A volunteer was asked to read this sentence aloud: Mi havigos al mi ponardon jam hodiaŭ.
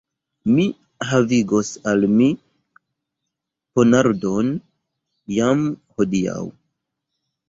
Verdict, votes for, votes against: rejected, 1, 2